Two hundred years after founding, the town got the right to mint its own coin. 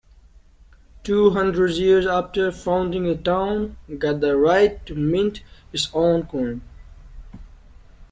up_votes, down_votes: 1, 2